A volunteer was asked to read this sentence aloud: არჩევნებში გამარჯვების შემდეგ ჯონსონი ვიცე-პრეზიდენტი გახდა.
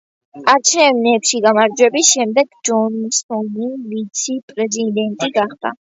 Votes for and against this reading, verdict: 1, 2, rejected